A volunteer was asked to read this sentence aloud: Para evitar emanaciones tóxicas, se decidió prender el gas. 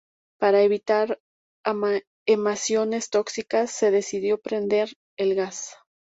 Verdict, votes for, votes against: rejected, 0, 2